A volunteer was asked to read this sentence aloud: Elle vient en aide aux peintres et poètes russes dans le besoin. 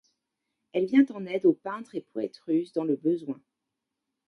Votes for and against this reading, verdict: 1, 2, rejected